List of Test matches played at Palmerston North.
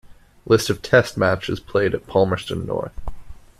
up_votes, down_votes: 2, 0